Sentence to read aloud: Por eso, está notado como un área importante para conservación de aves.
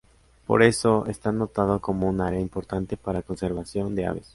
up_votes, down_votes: 2, 0